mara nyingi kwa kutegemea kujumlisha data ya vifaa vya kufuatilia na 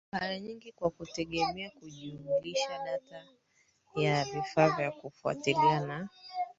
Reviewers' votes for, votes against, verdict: 0, 3, rejected